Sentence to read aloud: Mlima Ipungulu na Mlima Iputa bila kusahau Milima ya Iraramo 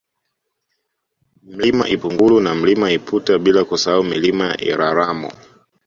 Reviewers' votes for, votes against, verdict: 1, 2, rejected